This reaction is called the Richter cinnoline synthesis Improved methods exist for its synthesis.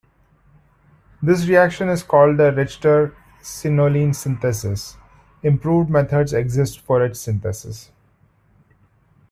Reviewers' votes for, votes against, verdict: 0, 2, rejected